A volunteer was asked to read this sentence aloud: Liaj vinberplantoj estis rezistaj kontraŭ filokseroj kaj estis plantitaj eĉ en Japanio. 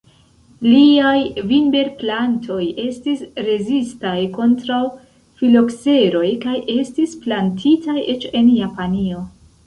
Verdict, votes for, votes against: rejected, 0, 2